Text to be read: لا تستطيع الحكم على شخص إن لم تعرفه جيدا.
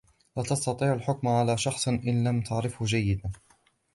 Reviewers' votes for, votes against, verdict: 2, 0, accepted